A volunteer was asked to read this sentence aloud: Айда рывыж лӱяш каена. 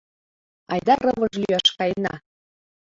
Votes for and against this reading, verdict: 3, 0, accepted